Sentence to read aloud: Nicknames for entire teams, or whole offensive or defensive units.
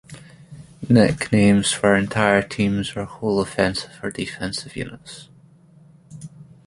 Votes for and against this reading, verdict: 1, 2, rejected